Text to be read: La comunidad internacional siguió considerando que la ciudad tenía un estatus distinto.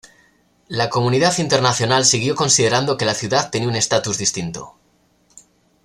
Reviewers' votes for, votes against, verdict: 2, 0, accepted